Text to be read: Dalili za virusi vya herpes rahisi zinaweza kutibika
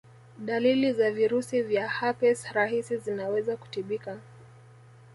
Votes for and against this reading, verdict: 1, 2, rejected